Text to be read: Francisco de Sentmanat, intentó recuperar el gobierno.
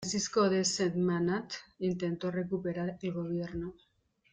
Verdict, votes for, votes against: rejected, 1, 2